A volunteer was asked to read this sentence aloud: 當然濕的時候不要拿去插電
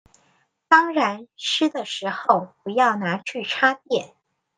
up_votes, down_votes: 2, 0